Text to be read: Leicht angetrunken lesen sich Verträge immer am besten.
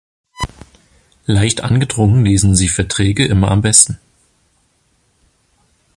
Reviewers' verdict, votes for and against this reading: rejected, 0, 2